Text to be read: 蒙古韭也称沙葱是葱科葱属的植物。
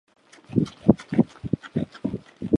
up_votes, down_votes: 0, 3